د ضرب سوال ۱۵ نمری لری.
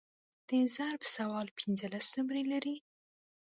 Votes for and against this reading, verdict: 0, 2, rejected